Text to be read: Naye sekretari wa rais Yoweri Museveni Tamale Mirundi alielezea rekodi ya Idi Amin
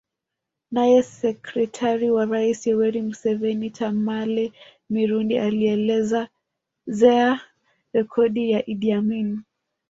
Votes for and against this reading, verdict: 0, 2, rejected